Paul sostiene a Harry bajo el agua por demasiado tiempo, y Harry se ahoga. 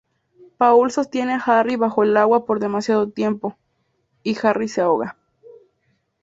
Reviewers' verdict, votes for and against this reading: accepted, 2, 0